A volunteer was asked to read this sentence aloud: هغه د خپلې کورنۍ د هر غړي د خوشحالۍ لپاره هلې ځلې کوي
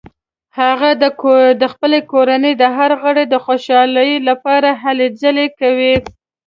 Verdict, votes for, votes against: rejected, 0, 2